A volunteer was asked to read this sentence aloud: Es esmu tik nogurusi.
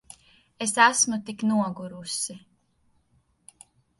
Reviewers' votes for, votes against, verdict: 2, 0, accepted